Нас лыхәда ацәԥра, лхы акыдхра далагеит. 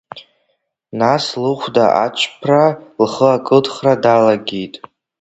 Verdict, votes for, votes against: accepted, 2, 0